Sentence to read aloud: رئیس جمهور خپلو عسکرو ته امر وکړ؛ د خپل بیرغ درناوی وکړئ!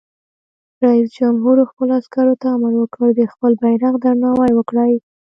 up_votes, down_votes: 1, 2